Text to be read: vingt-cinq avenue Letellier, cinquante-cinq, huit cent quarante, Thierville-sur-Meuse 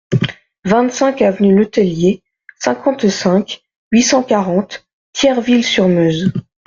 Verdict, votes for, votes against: accepted, 2, 0